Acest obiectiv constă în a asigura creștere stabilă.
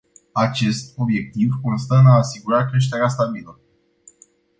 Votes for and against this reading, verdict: 2, 0, accepted